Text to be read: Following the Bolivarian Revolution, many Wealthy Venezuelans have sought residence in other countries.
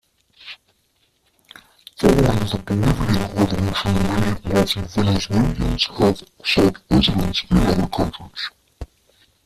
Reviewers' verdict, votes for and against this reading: rejected, 0, 2